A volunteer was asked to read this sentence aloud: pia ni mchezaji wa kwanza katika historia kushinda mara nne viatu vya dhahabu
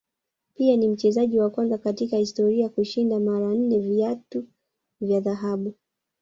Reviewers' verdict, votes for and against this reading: rejected, 0, 2